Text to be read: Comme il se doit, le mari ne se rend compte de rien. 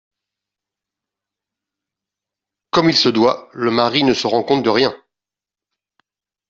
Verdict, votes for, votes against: accepted, 2, 0